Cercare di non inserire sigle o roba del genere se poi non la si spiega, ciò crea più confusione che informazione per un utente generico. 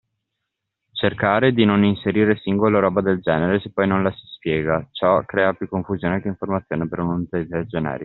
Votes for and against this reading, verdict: 2, 0, accepted